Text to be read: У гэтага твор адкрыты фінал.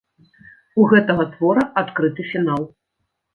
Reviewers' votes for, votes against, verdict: 1, 2, rejected